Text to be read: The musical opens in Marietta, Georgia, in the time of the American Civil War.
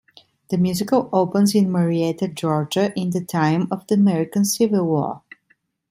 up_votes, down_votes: 2, 0